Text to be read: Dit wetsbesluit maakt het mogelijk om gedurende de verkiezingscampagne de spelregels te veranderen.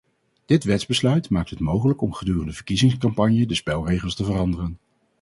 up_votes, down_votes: 0, 2